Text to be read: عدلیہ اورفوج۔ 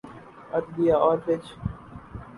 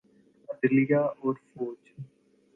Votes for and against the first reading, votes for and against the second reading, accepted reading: 0, 2, 2, 0, second